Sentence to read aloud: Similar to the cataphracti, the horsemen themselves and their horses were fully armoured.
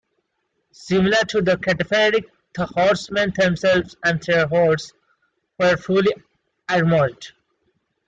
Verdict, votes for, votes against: rejected, 1, 2